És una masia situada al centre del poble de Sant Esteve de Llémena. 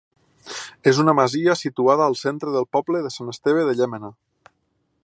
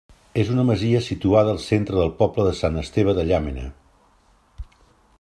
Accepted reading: first